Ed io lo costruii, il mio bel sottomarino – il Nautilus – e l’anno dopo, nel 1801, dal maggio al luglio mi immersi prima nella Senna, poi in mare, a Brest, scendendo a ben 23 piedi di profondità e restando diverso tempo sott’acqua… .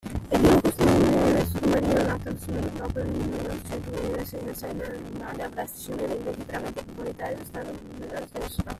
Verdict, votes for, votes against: rejected, 0, 2